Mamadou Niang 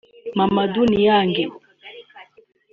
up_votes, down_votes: 2, 0